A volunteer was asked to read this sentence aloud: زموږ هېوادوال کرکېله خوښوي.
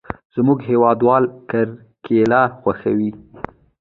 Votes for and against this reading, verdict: 1, 2, rejected